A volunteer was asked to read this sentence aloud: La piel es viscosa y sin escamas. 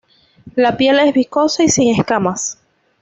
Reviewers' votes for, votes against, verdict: 2, 0, accepted